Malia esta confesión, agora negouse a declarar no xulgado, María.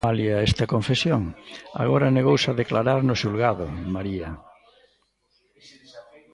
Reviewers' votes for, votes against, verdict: 1, 2, rejected